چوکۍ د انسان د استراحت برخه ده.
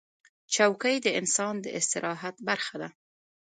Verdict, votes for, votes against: rejected, 0, 2